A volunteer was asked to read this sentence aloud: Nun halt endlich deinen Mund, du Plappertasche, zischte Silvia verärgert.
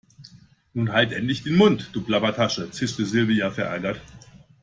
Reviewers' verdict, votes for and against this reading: rejected, 0, 2